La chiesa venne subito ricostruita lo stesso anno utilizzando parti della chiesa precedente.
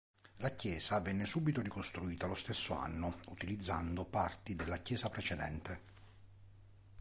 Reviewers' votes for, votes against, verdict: 2, 0, accepted